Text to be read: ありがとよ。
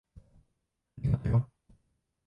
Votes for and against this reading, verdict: 2, 3, rejected